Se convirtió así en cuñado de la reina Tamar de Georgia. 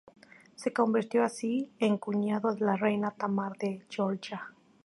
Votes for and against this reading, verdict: 4, 0, accepted